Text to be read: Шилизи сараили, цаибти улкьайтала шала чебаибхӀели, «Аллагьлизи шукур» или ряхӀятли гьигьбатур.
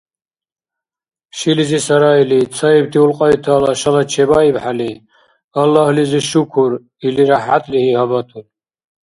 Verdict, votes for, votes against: rejected, 0, 2